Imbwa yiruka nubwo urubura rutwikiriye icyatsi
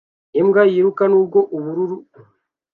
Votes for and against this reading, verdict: 0, 2, rejected